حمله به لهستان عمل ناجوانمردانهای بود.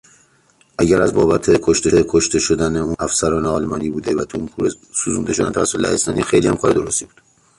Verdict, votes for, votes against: rejected, 0, 3